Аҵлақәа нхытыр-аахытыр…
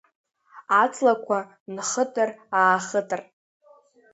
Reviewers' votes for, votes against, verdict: 2, 0, accepted